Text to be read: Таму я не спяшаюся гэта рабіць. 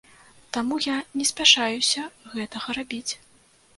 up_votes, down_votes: 0, 2